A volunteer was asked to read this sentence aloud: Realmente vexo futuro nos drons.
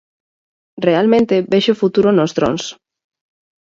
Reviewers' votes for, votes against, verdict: 4, 0, accepted